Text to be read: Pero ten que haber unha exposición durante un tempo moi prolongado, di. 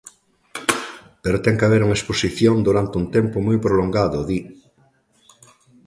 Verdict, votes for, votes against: accepted, 2, 0